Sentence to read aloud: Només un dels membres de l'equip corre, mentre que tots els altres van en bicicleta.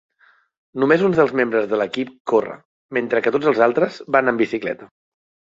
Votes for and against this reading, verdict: 2, 0, accepted